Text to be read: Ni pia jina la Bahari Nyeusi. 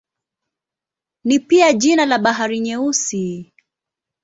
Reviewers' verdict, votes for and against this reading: accepted, 2, 0